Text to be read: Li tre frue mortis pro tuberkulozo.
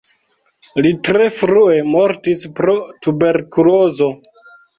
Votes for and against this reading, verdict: 2, 0, accepted